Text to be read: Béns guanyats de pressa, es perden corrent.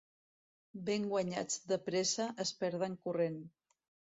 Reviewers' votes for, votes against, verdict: 0, 2, rejected